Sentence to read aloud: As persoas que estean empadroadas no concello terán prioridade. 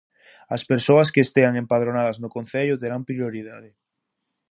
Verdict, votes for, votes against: rejected, 0, 2